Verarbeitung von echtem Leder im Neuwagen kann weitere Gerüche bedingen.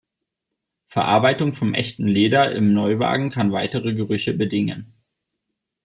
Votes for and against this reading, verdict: 0, 2, rejected